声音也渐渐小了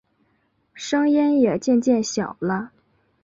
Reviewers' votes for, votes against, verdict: 2, 0, accepted